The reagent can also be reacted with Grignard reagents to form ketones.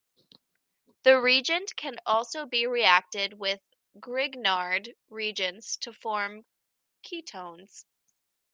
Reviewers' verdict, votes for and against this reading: rejected, 0, 2